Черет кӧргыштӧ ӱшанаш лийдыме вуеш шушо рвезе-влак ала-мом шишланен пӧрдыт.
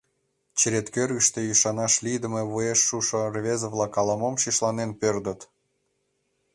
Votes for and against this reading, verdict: 2, 0, accepted